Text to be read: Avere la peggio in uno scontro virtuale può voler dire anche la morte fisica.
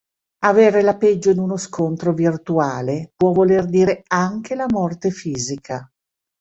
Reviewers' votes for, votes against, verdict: 2, 0, accepted